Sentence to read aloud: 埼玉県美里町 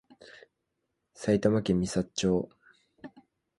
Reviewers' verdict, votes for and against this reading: accepted, 2, 0